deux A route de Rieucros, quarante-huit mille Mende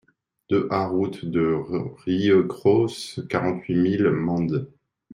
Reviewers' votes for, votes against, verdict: 1, 2, rejected